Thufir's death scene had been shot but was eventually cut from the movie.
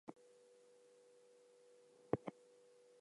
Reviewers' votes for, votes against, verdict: 0, 2, rejected